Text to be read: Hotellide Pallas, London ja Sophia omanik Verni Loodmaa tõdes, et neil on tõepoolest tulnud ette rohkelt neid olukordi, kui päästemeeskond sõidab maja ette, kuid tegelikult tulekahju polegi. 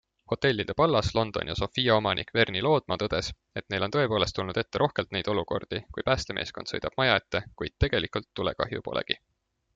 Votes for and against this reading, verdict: 2, 0, accepted